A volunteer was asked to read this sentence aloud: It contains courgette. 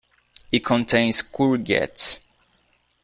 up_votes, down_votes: 3, 0